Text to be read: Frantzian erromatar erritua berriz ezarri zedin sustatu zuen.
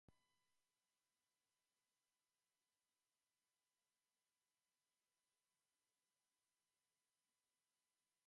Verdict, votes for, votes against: rejected, 0, 2